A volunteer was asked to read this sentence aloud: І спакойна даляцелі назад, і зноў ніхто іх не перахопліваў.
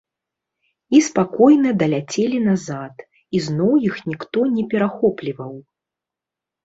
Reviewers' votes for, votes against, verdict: 1, 2, rejected